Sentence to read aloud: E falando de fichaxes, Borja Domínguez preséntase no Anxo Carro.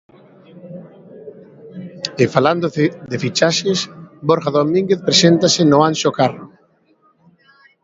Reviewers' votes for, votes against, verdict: 2, 1, accepted